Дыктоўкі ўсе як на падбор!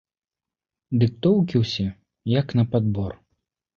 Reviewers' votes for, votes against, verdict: 2, 0, accepted